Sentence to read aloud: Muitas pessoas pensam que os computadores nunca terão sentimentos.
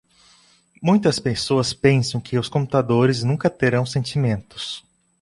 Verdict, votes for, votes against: accepted, 2, 0